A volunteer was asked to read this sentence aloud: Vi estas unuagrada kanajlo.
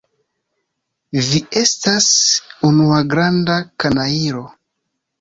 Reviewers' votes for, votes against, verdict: 1, 2, rejected